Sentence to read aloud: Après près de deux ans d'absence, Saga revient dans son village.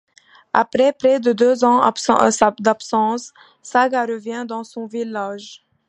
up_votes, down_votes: 2, 1